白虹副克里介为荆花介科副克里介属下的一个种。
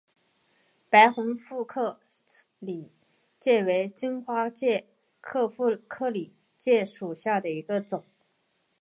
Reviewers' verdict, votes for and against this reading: rejected, 2, 2